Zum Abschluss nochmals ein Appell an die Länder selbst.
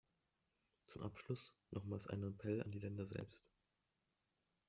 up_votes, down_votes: 1, 2